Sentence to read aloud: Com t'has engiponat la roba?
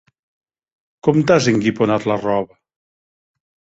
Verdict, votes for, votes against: rejected, 0, 2